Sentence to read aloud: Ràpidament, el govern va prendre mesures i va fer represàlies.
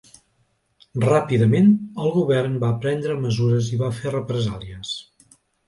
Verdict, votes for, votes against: accepted, 2, 0